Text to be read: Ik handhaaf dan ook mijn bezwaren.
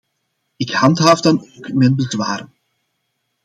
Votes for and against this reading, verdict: 1, 2, rejected